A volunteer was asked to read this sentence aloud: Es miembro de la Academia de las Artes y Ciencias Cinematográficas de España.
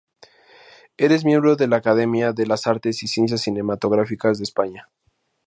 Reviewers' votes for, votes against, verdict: 0, 4, rejected